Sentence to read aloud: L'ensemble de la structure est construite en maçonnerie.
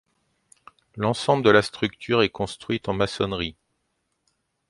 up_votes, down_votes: 2, 0